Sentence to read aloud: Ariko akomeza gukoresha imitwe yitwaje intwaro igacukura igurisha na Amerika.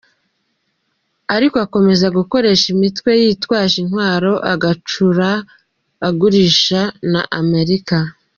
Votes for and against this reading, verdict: 1, 3, rejected